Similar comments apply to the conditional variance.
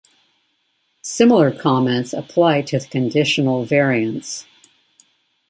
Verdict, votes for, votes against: accepted, 2, 0